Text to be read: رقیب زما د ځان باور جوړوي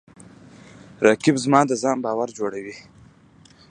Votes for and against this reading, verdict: 2, 0, accepted